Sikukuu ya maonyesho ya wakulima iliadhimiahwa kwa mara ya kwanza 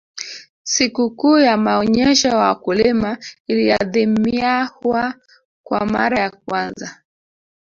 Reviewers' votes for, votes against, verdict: 0, 2, rejected